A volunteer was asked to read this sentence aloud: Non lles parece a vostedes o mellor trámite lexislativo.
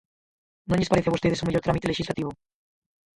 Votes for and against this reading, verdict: 0, 4, rejected